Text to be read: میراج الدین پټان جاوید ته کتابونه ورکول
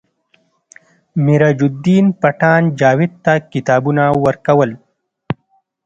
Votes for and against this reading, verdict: 2, 0, accepted